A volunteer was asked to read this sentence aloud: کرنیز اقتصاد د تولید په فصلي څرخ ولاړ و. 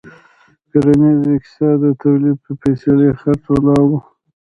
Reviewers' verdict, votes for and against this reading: rejected, 1, 2